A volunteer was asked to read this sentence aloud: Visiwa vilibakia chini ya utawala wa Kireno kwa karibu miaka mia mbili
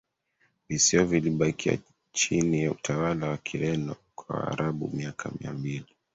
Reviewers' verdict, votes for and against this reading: rejected, 0, 2